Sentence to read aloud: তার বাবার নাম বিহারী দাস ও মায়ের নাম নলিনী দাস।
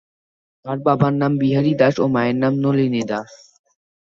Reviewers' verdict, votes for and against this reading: rejected, 0, 2